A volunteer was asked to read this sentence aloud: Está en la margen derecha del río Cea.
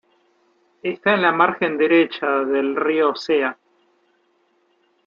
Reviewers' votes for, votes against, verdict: 2, 0, accepted